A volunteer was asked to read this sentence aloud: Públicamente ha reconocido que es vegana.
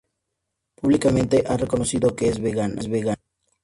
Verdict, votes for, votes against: accepted, 2, 0